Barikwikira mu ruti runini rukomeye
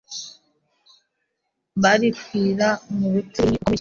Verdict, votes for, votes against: rejected, 0, 2